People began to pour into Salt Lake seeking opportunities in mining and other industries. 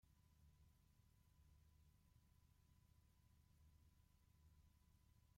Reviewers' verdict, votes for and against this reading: rejected, 0, 2